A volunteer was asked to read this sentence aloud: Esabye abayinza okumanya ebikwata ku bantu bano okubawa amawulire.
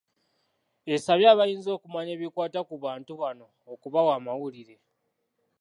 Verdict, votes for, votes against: accepted, 2, 0